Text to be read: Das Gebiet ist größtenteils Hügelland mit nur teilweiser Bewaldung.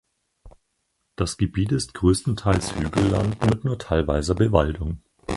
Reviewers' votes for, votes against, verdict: 2, 4, rejected